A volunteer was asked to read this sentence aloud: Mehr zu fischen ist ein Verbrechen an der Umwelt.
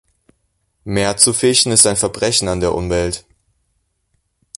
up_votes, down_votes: 2, 0